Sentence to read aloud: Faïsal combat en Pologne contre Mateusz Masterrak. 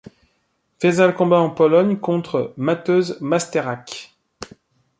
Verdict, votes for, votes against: accepted, 2, 0